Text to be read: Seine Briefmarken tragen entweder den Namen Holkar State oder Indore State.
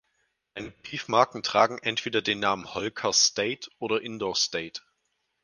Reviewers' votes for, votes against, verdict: 2, 4, rejected